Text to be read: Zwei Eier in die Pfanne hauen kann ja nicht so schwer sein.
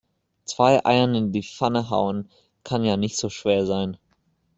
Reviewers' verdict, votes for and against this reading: rejected, 0, 2